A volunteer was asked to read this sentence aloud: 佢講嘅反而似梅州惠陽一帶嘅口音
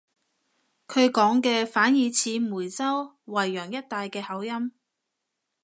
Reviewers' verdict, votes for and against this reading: accepted, 2, 0